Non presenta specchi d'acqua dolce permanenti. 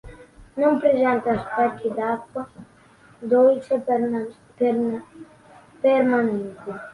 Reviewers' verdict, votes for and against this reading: rejected, 0, 3